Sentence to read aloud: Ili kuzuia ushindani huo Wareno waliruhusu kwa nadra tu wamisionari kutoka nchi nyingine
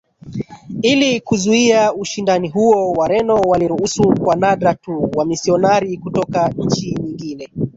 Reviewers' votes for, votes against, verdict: 1, 2, rejected